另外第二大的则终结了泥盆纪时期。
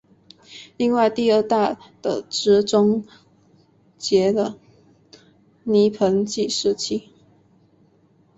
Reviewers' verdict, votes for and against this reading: accepted, 2, 0